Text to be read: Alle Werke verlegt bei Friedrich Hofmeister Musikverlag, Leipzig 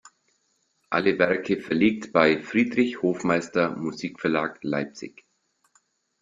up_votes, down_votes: 2, 0